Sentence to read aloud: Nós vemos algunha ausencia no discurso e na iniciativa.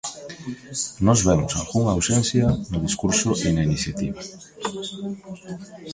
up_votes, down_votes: 0, 2